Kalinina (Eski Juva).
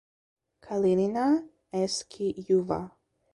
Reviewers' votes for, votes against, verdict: 2, 0, accepted